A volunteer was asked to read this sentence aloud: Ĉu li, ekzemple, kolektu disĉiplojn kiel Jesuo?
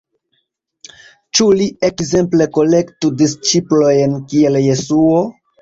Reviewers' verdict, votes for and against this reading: accepted, 2, 1